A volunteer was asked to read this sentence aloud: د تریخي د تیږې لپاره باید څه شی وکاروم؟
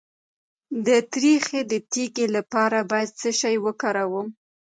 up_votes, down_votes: 1, 2